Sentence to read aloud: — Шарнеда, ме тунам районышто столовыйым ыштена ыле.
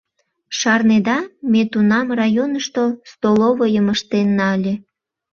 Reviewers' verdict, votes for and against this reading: rejected, 0, 2